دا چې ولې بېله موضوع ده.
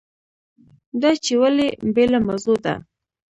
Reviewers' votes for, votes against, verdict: 2, 0, accepted